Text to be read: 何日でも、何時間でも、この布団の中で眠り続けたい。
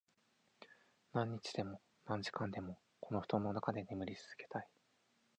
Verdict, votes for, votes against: rejected, 2, 4